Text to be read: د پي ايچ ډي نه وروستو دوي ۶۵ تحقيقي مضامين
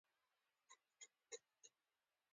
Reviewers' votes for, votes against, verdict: 0, 2, rejected